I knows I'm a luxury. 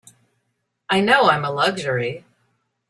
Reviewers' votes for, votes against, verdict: 0, 2, rejected